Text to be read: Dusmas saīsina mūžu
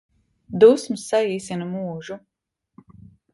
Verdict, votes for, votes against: accepted, 2, 0